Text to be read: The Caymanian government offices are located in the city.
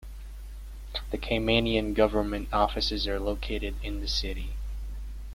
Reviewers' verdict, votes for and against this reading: accepted, 2, 0